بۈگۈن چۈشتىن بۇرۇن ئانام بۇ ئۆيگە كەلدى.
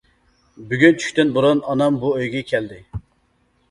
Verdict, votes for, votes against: accepted, 2, 0